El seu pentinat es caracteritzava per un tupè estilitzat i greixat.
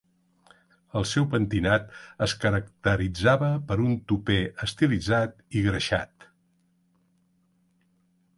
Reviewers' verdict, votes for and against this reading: accepted, 3, 1